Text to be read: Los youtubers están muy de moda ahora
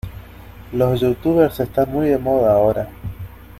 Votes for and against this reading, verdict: 2, 0, accepted